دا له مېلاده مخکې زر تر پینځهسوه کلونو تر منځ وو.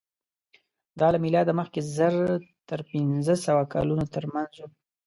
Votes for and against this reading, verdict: 2, 1, accepted